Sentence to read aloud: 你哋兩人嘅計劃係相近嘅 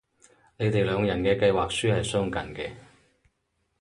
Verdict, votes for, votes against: rejected, 0, 4